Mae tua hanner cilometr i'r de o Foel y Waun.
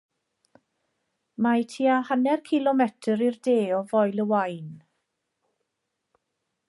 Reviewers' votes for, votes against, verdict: 2, 0, accepted